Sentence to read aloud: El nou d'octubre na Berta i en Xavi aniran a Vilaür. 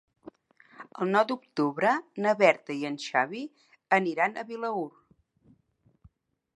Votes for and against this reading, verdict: 3, 0, accepted